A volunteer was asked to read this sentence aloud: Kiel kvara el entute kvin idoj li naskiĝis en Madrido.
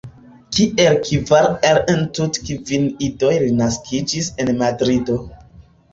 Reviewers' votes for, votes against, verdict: 1, 2, rejected